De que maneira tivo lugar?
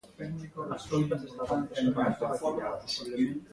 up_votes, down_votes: 0, 3